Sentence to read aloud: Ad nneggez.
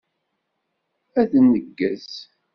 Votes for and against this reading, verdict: 2, 0, accepted